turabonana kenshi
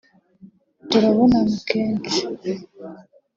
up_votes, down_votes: 2, 0